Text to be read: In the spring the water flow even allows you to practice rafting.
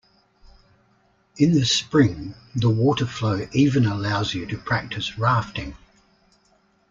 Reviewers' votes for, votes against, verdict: 2, 0, accepted